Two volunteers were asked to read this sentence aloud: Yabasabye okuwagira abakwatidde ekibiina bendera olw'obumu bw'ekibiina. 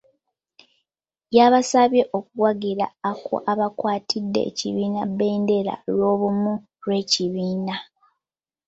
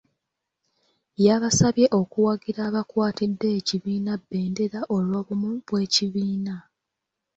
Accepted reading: second